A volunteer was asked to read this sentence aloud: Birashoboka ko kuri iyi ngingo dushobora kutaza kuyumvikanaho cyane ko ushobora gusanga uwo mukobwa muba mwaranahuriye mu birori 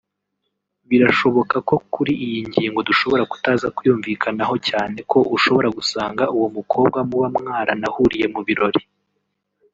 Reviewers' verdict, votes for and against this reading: rejected, 1, 2